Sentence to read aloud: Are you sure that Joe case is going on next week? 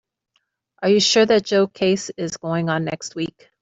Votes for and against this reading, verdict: 2, 0, accepted